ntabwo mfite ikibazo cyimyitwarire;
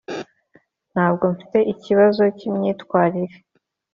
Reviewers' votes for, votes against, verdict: 2, 0, accepted